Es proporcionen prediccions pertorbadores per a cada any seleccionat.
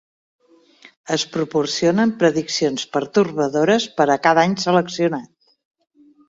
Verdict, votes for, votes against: accepted, 2, 0